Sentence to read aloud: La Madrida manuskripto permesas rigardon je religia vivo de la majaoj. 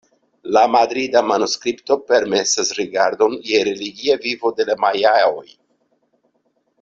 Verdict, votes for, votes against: accepted, 2, 0